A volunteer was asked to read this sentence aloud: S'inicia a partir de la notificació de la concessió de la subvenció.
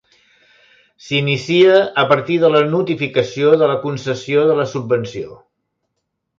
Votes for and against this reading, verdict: 2, 0, accepted